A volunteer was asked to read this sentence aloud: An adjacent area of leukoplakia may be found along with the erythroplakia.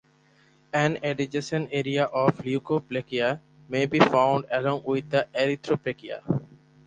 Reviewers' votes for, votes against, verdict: 0, 2, rejected